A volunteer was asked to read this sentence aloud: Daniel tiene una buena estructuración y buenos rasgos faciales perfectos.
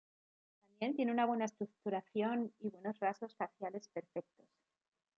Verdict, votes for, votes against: accepted, 2, 1